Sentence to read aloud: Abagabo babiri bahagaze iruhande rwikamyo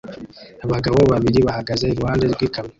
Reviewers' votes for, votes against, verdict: 1, 2, rejected